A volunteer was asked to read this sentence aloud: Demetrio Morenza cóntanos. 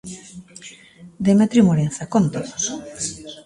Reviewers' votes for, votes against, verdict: 0, 2, rejected